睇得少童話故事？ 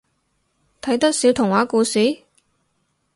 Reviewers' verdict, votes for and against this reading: accepted, 4, 0